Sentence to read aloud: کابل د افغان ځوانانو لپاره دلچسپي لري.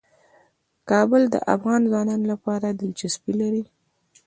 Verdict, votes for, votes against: accepted, 2, 0